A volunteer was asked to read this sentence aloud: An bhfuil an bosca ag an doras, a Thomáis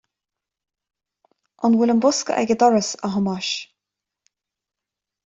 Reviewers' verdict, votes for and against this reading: accepted, 2, 0